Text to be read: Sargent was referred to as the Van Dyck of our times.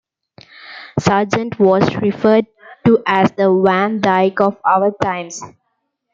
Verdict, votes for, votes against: accepted, 2, 1